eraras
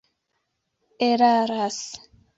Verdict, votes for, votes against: accepted, 2, 0